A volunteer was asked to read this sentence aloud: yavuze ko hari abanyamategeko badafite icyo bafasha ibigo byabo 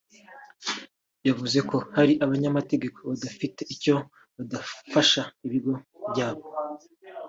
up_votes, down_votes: 1, 2